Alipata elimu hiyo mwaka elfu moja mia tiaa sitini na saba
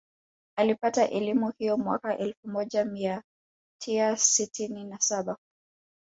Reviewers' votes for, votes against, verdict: 0, 2, rejected